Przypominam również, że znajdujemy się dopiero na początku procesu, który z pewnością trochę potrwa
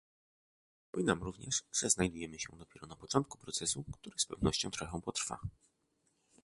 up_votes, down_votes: 1, 2